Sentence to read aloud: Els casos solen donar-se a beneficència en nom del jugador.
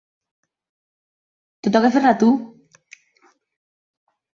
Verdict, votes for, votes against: rejected, 0, 2